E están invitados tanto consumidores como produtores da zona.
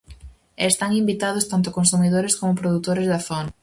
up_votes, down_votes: 2, 2